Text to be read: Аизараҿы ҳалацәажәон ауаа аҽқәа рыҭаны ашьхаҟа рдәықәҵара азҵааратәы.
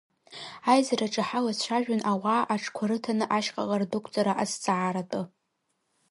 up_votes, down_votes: 1, 2